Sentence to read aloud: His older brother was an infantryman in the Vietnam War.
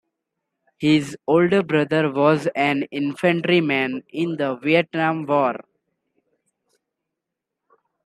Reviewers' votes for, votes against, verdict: 2, 1, accepted